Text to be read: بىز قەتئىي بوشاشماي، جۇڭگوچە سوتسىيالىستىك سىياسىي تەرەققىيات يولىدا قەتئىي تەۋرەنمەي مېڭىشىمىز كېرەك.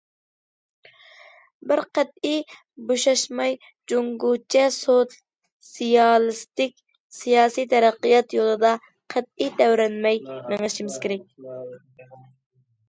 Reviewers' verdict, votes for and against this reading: rejected, 1, 2